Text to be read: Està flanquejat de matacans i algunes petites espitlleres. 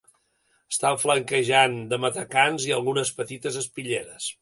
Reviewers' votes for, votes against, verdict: 2, 1, accepted